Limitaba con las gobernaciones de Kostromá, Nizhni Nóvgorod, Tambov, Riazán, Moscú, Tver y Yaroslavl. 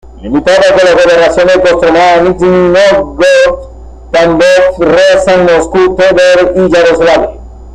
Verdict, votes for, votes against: rejected, 0, 2